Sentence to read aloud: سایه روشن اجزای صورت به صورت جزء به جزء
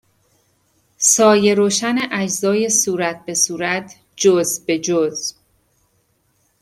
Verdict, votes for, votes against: accepted, 2, 1